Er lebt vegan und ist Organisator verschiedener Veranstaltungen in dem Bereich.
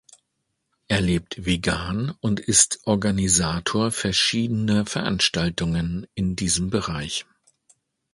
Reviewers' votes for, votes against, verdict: 1, 2, rejected